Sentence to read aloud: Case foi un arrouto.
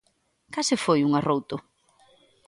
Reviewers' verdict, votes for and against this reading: accepted, 2, 0